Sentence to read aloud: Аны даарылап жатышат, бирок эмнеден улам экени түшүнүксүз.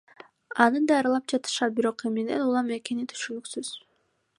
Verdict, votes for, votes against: accepted, 2, 0